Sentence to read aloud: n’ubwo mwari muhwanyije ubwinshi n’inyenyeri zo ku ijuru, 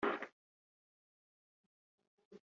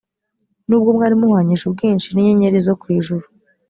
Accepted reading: second